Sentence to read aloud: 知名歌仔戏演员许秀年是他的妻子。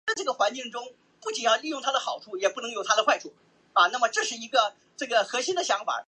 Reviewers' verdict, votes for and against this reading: rejected, 0, 5